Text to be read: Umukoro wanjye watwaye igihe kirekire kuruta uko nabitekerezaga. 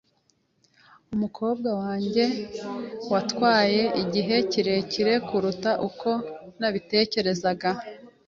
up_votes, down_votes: 2, 0